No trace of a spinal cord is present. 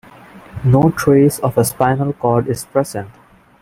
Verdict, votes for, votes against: accepted, 2, 0